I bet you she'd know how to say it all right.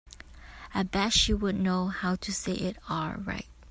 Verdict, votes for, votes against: accepted, 2, 1